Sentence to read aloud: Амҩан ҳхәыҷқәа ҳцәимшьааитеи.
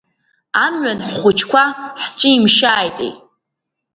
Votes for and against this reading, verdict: 2, 1, accepted